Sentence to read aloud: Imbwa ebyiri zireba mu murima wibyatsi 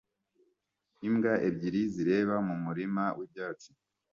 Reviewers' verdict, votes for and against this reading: accepted, 2, 0